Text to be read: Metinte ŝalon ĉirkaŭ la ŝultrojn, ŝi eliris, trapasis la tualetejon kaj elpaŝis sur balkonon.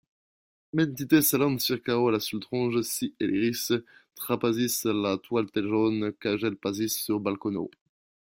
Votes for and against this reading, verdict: 0, 2, rejected